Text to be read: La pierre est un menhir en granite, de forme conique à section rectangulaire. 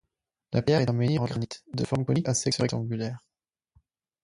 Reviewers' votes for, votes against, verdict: 2, 4, rejected